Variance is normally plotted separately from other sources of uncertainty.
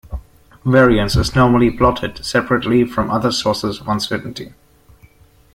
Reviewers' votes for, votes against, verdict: 2, 0, accepted